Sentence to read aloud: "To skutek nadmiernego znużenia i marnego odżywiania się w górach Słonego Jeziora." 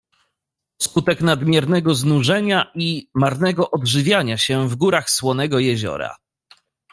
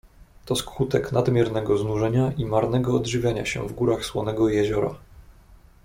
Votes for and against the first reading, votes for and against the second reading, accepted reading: 0, 2, 2, 0, second